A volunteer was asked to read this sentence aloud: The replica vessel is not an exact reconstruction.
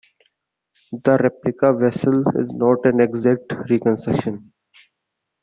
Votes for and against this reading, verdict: 1, 2, rejected